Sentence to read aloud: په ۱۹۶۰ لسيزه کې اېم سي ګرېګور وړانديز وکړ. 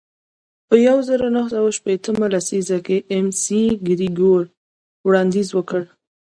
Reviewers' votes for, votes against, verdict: 0, 2, rejected